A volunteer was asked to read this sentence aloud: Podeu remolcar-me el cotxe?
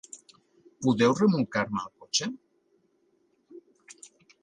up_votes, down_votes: 2, 1